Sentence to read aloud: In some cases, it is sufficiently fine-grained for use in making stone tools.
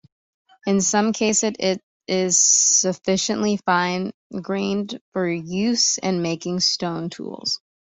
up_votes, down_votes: 2, 1